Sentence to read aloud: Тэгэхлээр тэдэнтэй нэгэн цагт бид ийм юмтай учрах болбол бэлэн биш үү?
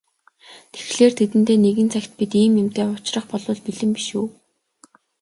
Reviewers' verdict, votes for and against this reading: accepted, 3, 0